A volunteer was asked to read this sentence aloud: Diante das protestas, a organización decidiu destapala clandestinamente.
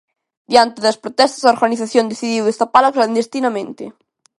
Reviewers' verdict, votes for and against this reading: accepted, 2, 0